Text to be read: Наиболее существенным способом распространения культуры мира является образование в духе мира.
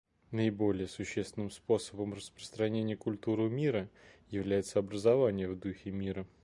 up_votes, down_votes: 2, 0